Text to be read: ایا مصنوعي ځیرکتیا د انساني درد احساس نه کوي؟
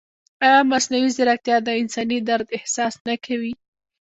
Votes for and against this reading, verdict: 2, 1, accepted